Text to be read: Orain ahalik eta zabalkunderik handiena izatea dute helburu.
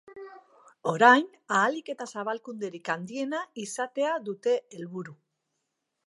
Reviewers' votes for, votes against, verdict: 2, 0, accepted